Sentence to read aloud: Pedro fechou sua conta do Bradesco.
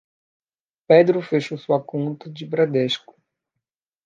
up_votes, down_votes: 0, 2